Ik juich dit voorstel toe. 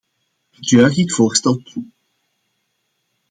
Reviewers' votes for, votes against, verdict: 2, 1, accepted